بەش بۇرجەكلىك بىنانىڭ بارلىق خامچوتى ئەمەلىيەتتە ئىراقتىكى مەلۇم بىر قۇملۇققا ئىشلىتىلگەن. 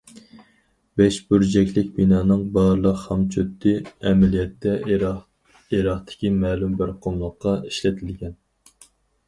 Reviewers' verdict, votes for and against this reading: rejected, 0, 4